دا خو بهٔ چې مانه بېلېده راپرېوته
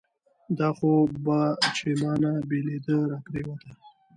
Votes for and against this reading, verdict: 2, 1, accepted